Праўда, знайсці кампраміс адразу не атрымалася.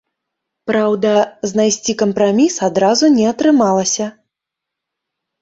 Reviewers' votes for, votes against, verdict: 0, 2, rejected